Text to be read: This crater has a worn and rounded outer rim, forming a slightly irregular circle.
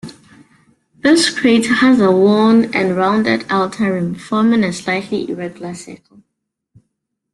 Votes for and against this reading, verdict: 2, 1, accepted